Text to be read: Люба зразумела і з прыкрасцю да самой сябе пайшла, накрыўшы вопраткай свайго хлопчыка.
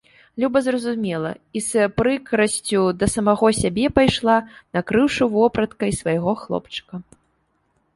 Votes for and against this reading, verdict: 1, 2, rejected